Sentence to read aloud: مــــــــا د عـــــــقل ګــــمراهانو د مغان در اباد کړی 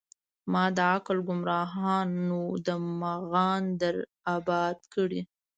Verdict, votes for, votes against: rejected, 0, 2